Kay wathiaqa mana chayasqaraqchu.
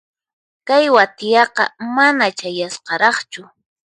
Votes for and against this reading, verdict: 4, 0, accepted